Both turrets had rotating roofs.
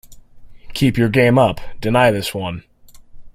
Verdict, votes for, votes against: rejected, 0, 2